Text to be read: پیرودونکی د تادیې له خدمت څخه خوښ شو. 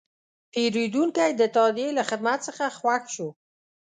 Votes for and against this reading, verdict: 2, 0, accepted